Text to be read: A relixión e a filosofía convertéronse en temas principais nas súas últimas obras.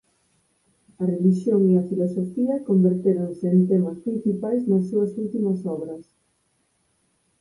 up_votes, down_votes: 4, 0